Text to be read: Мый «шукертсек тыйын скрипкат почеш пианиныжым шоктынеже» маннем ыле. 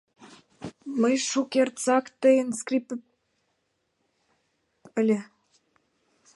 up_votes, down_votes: 0, 3